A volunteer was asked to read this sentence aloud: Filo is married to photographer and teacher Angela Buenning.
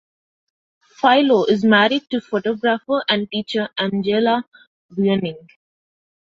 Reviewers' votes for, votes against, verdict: 2, 0, accepted